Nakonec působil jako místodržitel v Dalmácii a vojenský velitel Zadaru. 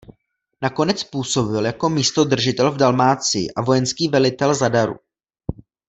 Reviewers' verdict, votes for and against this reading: accepted, 2, 0